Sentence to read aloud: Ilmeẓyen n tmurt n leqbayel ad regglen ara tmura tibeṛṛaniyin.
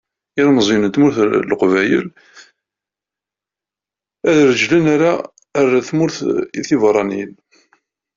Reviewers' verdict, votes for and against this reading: rejected, 0, 2